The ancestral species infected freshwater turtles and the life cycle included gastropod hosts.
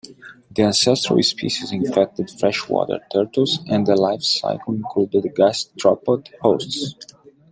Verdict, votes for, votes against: accepted, 2, 0